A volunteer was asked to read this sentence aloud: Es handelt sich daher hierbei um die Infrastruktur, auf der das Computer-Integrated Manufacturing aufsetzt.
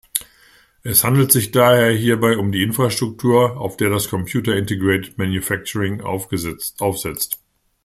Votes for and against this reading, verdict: 0, 2, rejected